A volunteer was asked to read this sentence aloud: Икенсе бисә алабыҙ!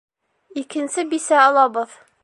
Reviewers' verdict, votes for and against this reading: accepted, 2, 0